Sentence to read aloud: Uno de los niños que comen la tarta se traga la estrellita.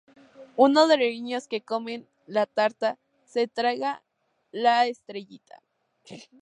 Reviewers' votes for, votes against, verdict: 2, 0, accepted